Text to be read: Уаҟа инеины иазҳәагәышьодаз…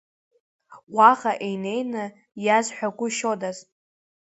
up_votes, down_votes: 2, 0